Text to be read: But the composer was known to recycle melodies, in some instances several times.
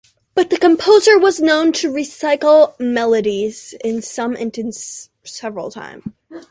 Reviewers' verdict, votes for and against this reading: rejected, 0, 2